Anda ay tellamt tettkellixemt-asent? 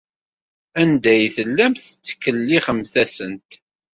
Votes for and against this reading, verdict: 2, 0, accepted